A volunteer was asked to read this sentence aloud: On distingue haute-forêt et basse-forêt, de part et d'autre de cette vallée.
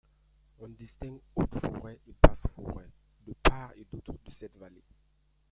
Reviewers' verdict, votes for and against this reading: rejected, 1, 2